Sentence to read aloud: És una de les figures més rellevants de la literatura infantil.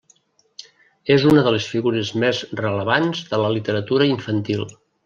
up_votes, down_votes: 1, 2